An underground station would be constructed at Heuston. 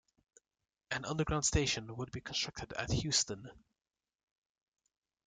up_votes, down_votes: 2, 1